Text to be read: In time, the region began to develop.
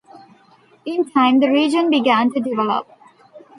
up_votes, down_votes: 2, 0